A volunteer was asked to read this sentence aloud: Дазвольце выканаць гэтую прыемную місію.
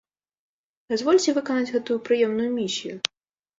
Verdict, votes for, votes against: accepted, 2, 0